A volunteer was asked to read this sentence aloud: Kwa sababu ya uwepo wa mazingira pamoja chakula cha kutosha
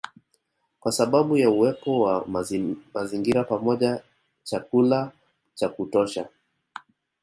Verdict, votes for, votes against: rejected, 0, 2